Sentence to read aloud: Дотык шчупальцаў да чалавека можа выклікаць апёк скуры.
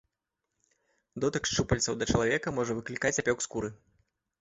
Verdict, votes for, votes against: accepted, 2, 0